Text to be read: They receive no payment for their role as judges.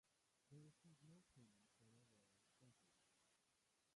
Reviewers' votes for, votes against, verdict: 0, 2, rejected